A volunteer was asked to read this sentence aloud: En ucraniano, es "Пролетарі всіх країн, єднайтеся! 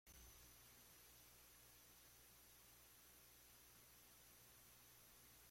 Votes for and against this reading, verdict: 0, 2, rejected